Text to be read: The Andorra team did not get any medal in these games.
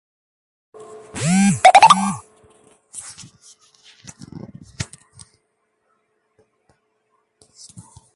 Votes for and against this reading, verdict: 0, 2, rejected